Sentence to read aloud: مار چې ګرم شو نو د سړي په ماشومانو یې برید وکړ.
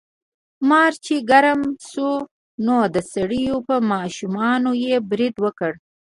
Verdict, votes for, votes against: accepted, 2, 0